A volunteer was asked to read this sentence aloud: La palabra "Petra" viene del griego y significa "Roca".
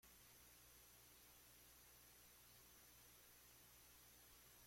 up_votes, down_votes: 0, 2